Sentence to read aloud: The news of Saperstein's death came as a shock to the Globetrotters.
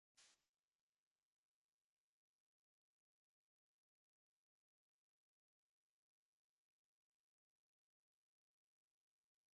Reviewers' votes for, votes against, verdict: 0, 3, rejected